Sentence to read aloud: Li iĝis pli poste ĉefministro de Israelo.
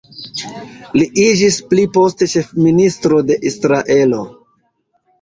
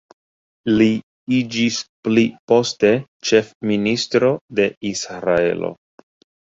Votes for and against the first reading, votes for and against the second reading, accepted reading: 1, 2, 2, 1, second